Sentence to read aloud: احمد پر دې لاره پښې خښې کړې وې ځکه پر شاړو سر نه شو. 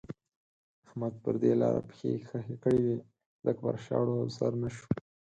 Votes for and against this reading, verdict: 10, 0, accepted